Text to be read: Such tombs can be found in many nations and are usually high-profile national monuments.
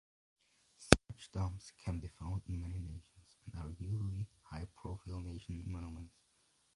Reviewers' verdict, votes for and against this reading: rejected, 1, 2